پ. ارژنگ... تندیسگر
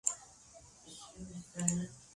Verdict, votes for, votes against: rejected, 0, 3